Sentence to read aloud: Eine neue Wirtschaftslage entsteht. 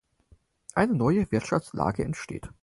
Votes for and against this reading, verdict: 4, 0, accepted